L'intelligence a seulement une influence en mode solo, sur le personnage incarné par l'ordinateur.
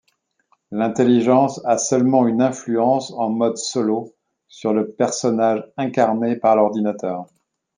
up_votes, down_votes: 2, 0